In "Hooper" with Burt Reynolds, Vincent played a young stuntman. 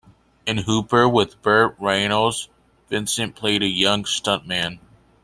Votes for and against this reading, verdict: 2, 0, accepted